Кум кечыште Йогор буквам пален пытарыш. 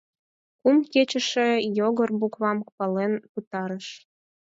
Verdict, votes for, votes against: rejected, 2, 4